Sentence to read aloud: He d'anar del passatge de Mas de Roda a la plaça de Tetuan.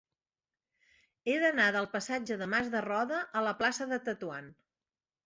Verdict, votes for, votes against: accepted, 6, 0